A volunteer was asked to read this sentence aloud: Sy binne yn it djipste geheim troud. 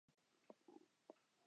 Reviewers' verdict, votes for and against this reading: rejected, 0, 2